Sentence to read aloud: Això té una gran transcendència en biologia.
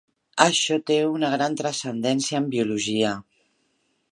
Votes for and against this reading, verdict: 4, 0, accepted